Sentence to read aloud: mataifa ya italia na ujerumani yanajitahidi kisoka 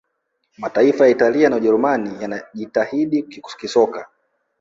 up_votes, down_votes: 4, 0